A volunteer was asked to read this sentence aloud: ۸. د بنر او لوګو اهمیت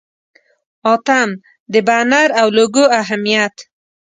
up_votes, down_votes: 0, 2